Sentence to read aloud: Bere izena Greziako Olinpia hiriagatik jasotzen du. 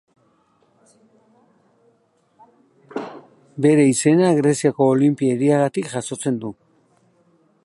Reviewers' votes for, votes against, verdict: 0, 2, rejected